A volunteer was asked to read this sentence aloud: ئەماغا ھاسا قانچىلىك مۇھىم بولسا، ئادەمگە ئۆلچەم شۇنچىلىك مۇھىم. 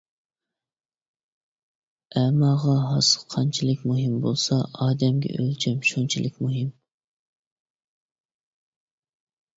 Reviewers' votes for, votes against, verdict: 2, 0, accepted